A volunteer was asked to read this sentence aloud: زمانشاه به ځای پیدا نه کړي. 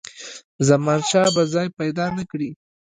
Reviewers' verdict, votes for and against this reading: rejected, 0, 2